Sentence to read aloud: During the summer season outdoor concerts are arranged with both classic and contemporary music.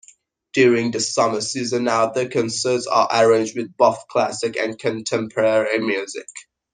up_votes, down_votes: 1, 2